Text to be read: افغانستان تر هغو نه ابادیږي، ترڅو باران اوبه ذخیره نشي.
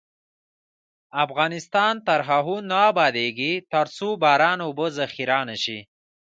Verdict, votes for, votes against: accepted, 2, 0